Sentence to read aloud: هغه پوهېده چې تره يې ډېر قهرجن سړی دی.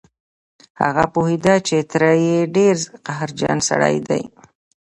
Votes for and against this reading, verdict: 2, 0, accepted